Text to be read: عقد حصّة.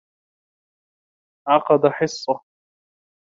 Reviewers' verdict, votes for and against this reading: accepted, 2, 0